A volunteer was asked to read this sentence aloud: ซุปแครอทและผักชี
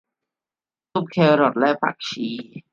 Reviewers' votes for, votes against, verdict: 2, 1, accepted